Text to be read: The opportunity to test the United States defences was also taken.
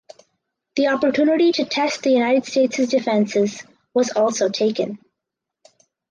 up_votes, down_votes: 2, 0